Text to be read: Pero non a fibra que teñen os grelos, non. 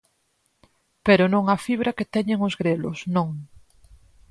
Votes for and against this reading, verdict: 6, 0, accepted